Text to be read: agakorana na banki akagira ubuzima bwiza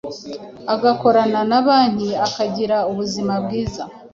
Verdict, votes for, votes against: accepted, 2, 0